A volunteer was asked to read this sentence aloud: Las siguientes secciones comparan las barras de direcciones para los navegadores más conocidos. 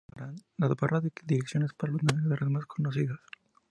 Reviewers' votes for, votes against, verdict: 0, 2, rejected